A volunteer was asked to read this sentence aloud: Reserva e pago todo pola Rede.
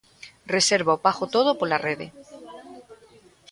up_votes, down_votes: 2, 0